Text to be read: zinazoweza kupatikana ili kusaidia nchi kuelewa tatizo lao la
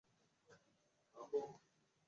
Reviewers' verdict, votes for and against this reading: rejected, 0, 2